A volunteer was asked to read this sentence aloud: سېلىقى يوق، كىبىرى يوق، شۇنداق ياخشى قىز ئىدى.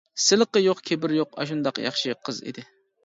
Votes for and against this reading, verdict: 0, 2, rejected